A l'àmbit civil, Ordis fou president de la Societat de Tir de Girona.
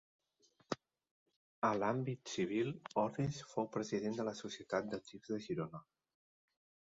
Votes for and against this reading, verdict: 2, 1, accepted